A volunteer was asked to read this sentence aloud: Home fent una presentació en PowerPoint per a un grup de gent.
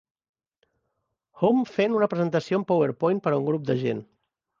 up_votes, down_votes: 1, 2